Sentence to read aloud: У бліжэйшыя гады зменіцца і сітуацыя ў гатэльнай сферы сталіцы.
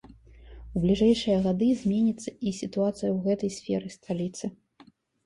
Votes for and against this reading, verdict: 0, 2, rejected